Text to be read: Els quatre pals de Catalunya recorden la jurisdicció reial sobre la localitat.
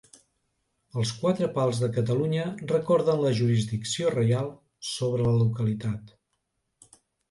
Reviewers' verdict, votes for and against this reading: accepted, 2, 0